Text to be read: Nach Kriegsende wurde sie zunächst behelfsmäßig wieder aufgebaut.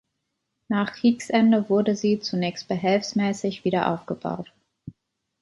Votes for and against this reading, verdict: 2, 0, accepted